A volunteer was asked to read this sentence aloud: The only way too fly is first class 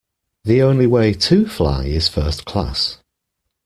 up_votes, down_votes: 2, 1